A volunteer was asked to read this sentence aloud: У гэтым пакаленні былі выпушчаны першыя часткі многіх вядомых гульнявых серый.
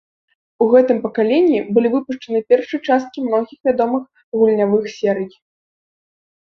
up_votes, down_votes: 2, 0